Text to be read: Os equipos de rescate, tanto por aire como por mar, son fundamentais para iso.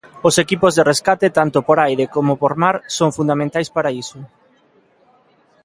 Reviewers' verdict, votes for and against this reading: accepted, 2, 0